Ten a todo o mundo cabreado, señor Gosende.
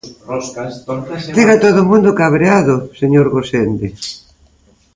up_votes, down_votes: 0, 2